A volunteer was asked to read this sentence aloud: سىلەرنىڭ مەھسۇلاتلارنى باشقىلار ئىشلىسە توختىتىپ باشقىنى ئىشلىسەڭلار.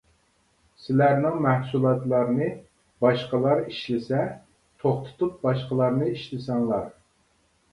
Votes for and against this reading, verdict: 0, 2, rejected